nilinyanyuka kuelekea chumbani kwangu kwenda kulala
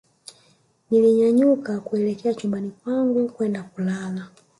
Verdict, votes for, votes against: accepted, 2, 1